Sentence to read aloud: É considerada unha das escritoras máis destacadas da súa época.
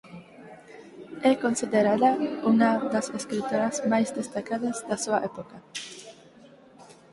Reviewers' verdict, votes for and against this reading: rejected, 2, 4